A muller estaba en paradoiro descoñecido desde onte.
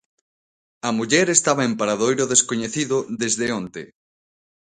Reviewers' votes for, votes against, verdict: 2, 0, accepted